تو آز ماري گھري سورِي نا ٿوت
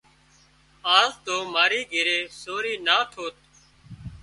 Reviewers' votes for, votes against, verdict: 0, 2, rejected